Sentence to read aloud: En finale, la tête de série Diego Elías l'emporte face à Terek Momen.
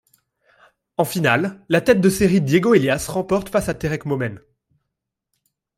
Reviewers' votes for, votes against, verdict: 0, 2, rejected